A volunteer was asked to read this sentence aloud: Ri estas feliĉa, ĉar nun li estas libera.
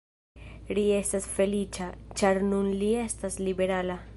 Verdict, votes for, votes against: rejected, 0, 2